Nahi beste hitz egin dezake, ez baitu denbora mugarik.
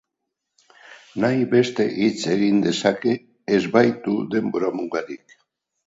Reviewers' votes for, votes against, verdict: 2, 0, accepted